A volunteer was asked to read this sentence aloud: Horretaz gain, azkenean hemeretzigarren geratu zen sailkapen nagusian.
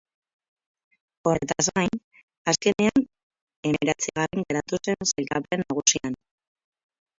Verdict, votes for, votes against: rejected, 4, 8